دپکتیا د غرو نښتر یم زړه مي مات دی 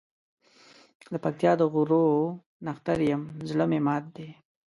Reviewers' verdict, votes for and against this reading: accepted, 2, 0